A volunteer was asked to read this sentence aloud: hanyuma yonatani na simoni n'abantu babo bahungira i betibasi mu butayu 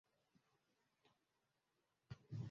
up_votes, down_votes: 0, 2